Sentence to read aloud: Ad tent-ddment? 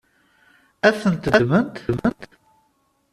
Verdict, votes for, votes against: rejected, 0, 2